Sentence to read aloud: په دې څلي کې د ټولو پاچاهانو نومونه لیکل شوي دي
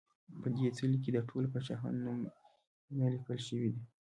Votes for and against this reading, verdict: 2, 0, accepted